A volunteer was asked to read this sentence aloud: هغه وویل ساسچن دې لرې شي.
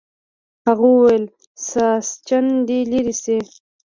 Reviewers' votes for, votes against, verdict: 2, 0, accepted